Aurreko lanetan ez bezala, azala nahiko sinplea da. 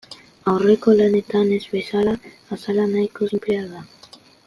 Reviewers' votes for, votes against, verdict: 2, 0, accepted